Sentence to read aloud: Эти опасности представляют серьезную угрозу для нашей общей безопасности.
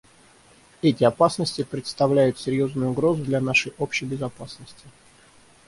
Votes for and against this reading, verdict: 6, 0, accepted